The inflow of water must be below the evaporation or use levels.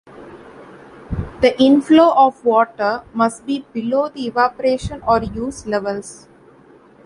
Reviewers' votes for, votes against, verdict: 2, 0, accepted